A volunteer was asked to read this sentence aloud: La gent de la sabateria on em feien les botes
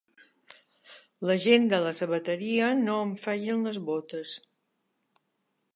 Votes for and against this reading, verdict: 0, 2, rejected